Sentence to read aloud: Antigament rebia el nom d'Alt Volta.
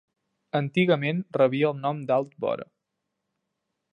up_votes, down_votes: 0, 2